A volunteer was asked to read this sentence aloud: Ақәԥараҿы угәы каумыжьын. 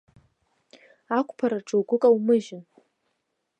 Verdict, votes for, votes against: accepted, 2, 0